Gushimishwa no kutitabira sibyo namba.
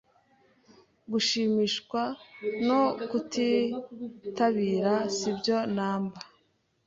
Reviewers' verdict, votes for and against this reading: accepted, 2, 0